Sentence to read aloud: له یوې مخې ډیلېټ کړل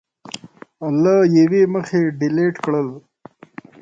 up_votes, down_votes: 2, 0